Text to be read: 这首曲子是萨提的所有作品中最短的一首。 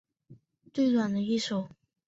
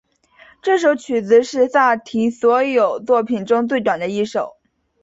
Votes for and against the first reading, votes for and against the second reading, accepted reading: 1, 2, 2, 0, second